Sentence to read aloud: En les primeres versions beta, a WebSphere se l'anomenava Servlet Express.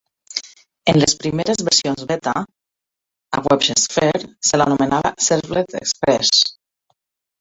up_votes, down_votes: 0, 2